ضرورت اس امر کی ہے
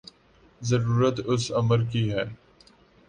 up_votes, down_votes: 5, 0